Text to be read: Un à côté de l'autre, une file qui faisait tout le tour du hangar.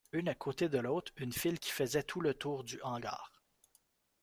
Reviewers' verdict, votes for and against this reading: rejected, 0, 2